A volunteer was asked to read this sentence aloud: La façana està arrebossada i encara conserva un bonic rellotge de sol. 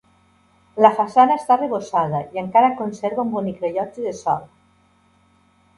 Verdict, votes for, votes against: accepted, 2, 0